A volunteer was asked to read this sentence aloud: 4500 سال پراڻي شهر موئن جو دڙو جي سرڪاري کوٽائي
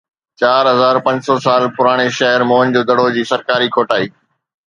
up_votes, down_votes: 0, 2